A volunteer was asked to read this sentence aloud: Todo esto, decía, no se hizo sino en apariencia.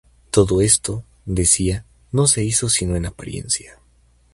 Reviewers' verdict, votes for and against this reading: accepted, 2, 0